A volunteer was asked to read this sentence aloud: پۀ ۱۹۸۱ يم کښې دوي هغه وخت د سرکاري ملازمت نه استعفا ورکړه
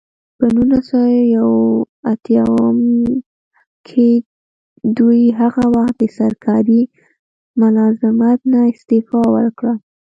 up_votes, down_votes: 0, 2